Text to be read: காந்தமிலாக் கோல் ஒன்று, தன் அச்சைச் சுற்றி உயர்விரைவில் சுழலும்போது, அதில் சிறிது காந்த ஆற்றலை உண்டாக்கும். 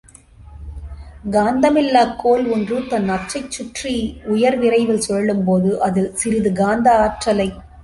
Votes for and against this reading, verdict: 1, 3, rejected